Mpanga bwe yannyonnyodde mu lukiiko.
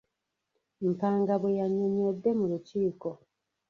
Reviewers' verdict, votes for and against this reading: rejected, 0, 2